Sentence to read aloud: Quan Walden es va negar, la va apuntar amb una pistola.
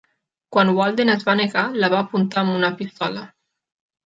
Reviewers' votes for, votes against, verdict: 3, 0, accepted